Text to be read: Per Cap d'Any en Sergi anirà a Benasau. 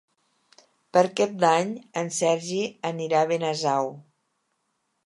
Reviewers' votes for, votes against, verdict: 2, 0, accepted